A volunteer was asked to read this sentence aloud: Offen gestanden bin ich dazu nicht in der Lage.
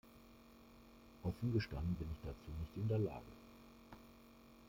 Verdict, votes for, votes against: rejected, 1, 2